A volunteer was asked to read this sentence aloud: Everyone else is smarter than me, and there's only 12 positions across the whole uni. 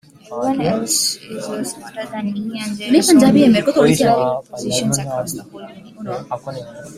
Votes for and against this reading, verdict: 0, 2, rejected